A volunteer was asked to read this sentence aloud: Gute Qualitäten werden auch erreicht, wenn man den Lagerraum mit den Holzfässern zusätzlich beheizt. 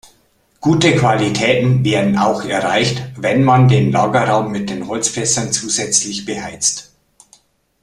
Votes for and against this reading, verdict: 2, 0, accepted